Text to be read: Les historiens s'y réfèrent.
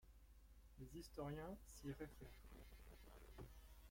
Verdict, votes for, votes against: rejected, 1, 2